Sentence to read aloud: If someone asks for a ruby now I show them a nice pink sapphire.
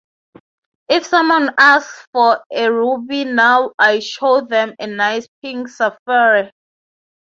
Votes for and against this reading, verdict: 3, 0, accepted